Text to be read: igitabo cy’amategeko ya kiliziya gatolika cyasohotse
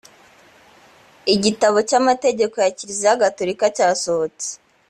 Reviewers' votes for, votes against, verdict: 2, 0, accepted